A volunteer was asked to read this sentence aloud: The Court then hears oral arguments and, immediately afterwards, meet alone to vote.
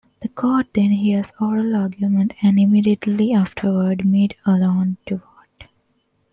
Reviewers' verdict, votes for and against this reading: rejected, 1, 2